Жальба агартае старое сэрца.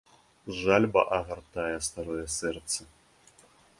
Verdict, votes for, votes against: accepted, 2, 0